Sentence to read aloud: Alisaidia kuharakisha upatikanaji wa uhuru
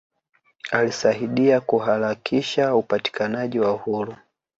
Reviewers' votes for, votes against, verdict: 1, 2, rejected